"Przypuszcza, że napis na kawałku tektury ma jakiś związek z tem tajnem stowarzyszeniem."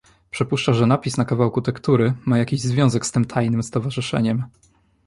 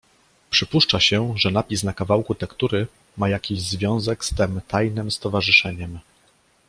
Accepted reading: first